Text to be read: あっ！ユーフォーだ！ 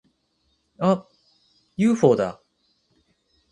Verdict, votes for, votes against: accepted, 4, 0